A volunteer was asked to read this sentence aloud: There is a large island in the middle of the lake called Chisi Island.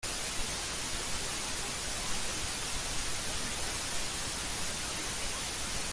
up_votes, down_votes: 0, 2